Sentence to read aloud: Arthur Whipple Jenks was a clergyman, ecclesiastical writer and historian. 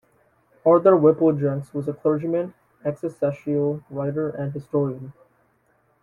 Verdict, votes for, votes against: rejected, 0, 2